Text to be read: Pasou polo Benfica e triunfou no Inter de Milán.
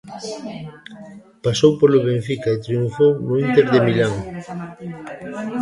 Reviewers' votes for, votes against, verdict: 0, 2, rejected